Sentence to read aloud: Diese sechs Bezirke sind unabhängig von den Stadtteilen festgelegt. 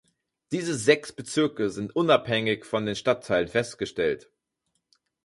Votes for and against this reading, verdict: 2, 4, rejected